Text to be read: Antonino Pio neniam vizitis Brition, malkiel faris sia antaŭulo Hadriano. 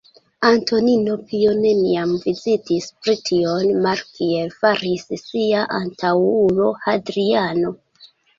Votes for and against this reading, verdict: 2, 0, accepted